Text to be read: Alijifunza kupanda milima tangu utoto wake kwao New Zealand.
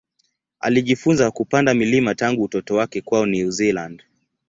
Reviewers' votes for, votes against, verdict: 2, 0, accepted